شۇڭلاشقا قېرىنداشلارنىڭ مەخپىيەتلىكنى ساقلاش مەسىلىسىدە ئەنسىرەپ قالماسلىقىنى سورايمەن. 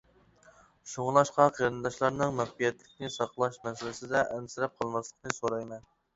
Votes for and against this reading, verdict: 2, 0, accepted